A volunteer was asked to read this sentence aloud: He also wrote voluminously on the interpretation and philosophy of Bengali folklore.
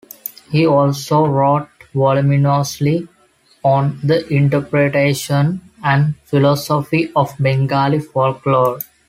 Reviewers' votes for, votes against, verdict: 2, 0, accepted